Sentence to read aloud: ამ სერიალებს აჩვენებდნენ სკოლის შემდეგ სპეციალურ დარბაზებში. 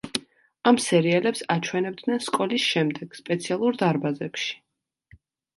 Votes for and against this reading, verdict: 2, 0, accepted